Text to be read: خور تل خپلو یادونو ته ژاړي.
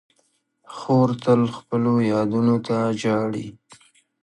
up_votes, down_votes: 2, 0